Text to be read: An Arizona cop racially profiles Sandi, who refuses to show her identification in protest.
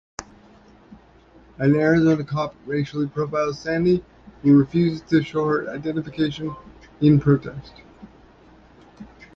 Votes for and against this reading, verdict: 2, 0, accepted